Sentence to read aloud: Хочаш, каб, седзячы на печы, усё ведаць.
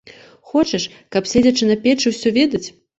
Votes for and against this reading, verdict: 2, 0, accepted